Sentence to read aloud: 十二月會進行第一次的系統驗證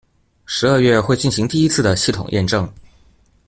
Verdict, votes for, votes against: rejected, 1, 2